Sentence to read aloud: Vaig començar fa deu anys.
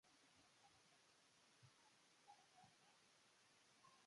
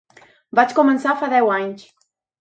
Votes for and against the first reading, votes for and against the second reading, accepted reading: 0, 2, 4, 0, second